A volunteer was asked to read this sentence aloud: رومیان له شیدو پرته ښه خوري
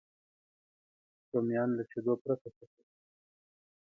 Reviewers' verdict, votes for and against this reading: rejected, 1, 2